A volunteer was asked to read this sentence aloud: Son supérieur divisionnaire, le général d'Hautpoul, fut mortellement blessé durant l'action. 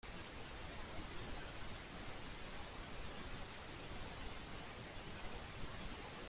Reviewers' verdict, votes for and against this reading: rejected, 0, 3